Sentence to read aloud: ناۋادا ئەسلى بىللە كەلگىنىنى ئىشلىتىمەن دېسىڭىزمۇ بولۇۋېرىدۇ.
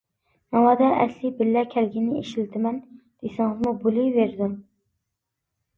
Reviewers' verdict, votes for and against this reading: accepted, 2, 0